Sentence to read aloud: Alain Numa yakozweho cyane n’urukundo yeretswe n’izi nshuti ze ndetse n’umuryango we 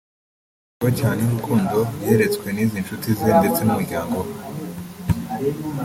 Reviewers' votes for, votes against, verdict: 1, 2, rejected